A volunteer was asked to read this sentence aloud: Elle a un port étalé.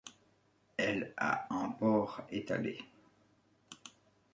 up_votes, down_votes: 2, 0